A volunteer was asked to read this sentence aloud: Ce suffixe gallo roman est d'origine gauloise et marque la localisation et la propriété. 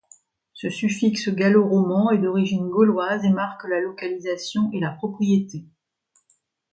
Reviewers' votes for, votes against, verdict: 2, 0, accepted